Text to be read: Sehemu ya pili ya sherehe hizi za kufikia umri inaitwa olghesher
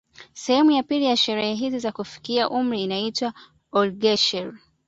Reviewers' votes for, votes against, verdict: 2, 0, accepted